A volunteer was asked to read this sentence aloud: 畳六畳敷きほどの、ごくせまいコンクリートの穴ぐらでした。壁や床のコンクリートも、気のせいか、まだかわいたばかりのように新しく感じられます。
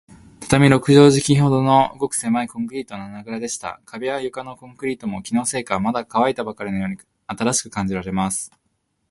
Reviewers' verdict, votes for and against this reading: accepted, 5, 0